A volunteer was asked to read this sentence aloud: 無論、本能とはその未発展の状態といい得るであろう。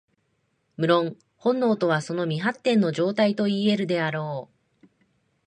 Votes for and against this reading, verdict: 2, 0, accepted